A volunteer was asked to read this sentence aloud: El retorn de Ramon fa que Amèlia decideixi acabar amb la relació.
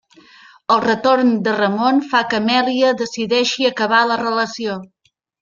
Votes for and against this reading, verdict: 0, 2, rejected